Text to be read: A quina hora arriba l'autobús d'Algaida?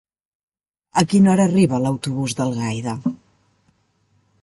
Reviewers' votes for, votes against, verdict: 3, 1, accepted